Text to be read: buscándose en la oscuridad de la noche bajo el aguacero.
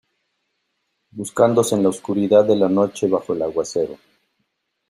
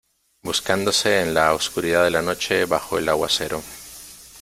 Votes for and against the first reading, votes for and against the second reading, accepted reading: 2, 0, 1, 2, first